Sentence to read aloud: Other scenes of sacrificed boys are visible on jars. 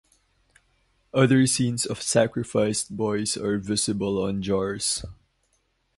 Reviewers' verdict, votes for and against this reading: accepted, 2, 0